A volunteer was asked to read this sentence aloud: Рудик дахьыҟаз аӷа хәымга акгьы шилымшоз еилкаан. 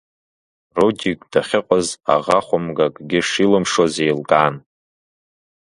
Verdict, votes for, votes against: accepted, 2, 0